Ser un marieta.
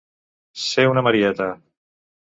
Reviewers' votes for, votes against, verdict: 0, 3, rejected